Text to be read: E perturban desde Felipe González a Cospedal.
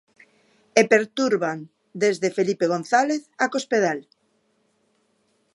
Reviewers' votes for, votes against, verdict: 2, 0, accepted